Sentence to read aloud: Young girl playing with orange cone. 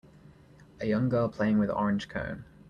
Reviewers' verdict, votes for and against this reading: rejected, 0, 2